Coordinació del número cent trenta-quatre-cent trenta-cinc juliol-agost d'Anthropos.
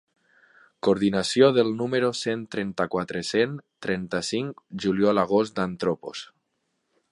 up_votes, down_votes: 2, 0